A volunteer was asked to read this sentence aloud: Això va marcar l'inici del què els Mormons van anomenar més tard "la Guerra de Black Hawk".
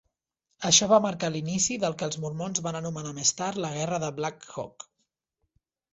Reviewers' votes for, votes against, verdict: 2, 0, accepted